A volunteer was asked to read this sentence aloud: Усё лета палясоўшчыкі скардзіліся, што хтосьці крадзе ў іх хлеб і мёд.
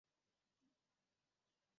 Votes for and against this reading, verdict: 0, 2, rejected